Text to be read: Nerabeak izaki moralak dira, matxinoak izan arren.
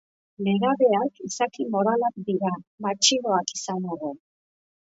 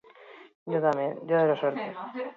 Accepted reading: first